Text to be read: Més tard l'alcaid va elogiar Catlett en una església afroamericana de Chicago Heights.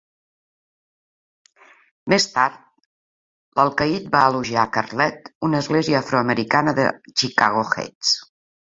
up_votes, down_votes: 3, 1